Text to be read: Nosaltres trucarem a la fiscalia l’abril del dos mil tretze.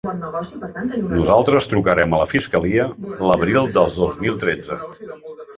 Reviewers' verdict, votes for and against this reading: rejected, 1, 2